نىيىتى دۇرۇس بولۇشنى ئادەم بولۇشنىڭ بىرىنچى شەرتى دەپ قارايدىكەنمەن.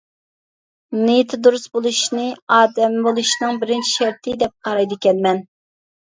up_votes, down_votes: 3, 0